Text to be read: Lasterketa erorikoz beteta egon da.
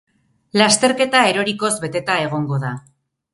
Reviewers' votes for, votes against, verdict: 0, 4, rejected